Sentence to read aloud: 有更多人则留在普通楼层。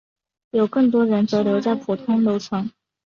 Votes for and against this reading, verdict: 2, 0, accepted